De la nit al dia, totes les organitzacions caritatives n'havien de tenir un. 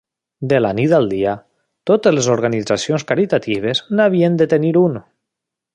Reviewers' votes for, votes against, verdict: 1, 2, rejected